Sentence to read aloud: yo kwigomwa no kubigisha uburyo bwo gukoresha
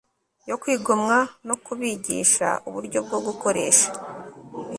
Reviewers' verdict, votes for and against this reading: accepted, 2, 0